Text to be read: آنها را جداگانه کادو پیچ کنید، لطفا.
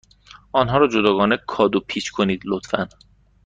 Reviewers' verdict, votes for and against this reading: accepted, 2, 0